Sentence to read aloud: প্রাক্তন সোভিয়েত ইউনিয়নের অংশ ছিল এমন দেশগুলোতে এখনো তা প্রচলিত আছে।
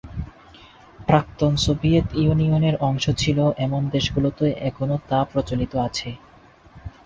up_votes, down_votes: 2, 2